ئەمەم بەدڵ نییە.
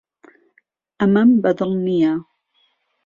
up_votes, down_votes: 2, 0